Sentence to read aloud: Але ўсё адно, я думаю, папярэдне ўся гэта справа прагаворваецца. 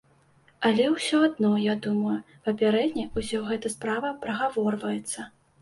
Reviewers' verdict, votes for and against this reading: rejected, 1, 2